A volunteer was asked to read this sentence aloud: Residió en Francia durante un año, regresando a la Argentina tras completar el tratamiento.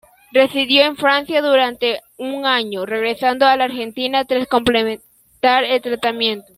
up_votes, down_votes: 1, 2